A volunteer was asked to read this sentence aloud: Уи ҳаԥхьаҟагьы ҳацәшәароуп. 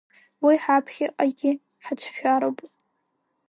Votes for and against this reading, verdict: 2, 0, accepted